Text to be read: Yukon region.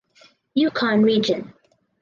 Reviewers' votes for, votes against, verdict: 4, 0, accepted